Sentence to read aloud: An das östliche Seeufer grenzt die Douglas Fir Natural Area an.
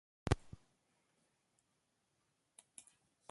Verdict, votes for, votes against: rejected, 0, 2